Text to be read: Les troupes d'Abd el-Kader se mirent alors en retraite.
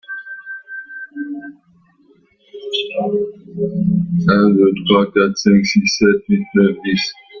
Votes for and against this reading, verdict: 1, 2, rejected